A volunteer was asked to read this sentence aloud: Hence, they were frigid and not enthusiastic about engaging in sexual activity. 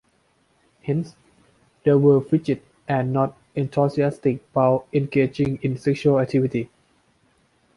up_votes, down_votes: 1, 2